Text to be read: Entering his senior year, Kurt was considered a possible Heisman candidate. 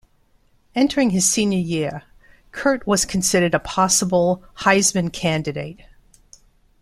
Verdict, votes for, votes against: accepted, 2, 0